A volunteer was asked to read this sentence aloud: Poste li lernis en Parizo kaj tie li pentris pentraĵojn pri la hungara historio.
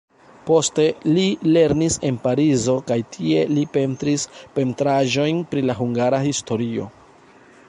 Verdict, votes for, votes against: rejected, 1, 2